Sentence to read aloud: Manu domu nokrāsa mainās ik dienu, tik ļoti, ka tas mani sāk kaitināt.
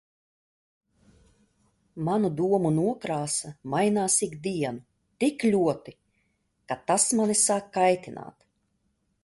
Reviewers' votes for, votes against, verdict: 2, 0, accepted